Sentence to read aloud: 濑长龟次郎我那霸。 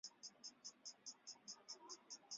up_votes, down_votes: 0, 2